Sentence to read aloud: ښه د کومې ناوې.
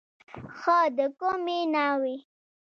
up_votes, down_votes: 1, 2